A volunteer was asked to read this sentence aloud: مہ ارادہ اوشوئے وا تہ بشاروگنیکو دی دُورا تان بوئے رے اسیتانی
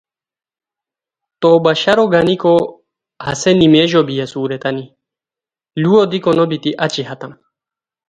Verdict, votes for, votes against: rejected, 0, 2